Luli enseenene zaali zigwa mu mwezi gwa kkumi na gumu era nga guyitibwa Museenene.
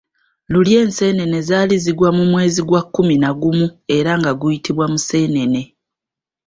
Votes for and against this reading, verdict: 2, 0, accepted